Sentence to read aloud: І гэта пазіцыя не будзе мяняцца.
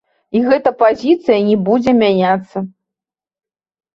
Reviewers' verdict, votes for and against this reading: rejected, 1, 2